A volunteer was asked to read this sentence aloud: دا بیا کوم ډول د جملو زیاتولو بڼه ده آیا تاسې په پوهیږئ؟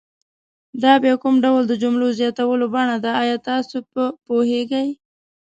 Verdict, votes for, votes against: accepted, 2, 0